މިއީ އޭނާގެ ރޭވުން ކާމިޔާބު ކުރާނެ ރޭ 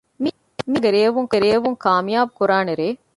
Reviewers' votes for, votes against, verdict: 0, 2, rejected